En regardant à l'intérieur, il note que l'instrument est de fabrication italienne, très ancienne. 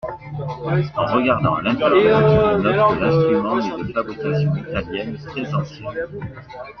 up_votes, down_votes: 2, 0